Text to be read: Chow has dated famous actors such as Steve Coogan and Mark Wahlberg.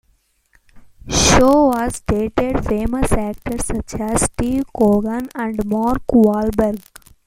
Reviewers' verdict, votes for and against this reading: rejected, 1, 2